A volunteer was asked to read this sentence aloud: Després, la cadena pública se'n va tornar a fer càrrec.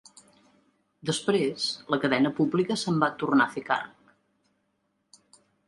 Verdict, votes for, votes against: accepted, 3, 0